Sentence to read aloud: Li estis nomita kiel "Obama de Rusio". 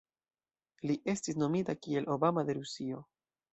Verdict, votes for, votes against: rejected, 1, 2